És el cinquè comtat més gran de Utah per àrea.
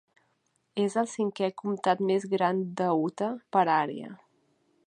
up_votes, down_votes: 2, 0